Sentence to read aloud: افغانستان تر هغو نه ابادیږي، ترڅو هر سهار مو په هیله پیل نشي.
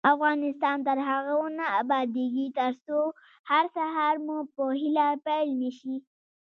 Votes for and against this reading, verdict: 3, 1, accepted